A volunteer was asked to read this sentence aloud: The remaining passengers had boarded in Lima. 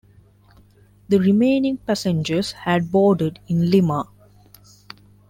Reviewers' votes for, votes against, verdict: 2, 0, accepted